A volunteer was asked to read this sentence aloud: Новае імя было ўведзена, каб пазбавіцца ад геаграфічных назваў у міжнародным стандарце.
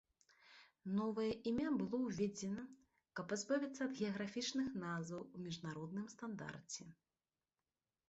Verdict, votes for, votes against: accepted, 2, 1